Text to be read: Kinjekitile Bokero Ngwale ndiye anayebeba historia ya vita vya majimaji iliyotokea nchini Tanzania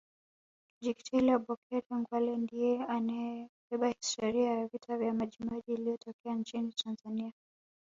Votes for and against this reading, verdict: 0, 2, rejected